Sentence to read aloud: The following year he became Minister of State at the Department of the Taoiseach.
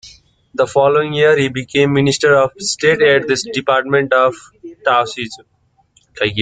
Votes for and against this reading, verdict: 0, 2, rejected